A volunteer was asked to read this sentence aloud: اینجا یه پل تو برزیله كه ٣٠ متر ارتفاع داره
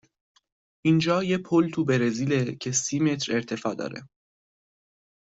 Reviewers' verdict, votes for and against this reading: rejected, 0, 2